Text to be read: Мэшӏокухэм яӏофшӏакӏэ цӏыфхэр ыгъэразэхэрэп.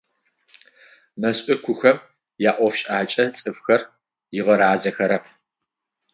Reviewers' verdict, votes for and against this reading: rejected, 0, 6